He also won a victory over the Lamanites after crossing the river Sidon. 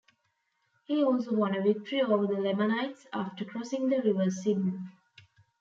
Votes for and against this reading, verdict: 2, 0, accepted